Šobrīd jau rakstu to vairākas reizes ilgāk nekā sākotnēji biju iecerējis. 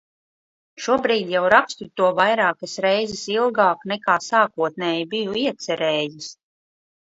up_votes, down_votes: 2, 0